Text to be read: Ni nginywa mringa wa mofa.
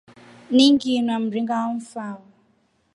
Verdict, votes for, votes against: rejected, 1, 3